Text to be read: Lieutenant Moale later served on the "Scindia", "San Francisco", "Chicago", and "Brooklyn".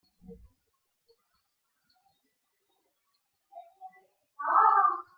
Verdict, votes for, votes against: rejected, 0, 2